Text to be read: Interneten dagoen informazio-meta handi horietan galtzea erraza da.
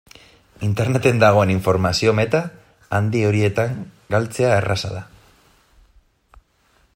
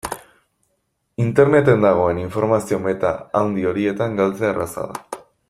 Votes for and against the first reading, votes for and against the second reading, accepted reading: 1, 2, 2, 0, second